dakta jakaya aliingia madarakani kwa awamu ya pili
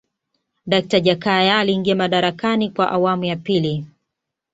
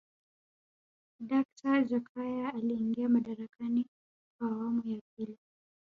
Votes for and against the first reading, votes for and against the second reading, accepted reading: 2, 0, 1, 2, first